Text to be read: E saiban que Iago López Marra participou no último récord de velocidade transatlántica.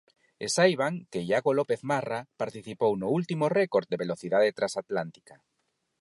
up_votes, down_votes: 4, 0